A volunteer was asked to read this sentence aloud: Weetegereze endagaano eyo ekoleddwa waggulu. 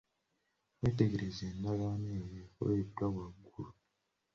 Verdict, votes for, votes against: accepted, 2, 0